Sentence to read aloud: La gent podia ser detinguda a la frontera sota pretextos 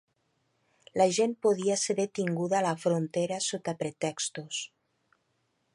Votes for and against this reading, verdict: 3, 0, accepted